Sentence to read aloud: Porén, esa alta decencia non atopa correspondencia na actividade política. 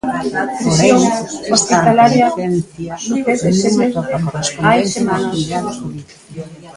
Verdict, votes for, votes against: rejected, 0, 2